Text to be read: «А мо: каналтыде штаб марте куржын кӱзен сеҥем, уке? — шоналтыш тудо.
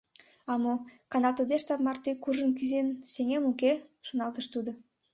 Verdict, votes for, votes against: accepted, 2, 0